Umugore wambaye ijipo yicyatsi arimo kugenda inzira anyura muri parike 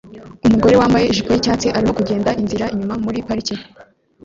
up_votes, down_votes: 1, 2